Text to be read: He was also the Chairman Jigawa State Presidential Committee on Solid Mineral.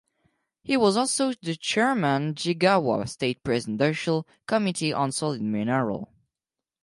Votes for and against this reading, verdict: 0, 4, rejected